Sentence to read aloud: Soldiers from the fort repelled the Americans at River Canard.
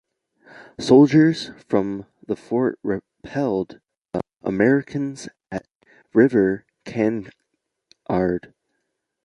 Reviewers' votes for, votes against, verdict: 1, 2, rejected